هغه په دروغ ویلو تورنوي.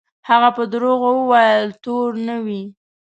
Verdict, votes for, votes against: rejected, 0, 2